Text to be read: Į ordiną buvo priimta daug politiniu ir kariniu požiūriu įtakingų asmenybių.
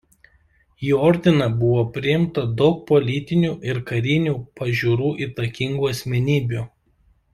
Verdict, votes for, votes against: rejected, 0, 2